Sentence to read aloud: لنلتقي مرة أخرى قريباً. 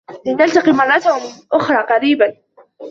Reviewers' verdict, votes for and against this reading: accepted, 2, 1